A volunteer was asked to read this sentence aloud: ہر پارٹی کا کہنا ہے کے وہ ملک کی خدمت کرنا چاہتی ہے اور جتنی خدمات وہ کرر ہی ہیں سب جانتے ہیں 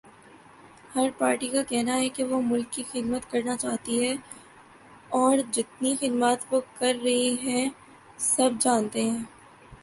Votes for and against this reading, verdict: 0, 2, rejected